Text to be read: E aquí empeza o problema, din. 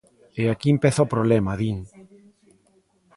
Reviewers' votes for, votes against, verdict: 1, 2, rejected